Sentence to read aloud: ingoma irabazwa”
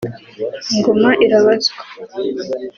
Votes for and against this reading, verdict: 2, 0, accepted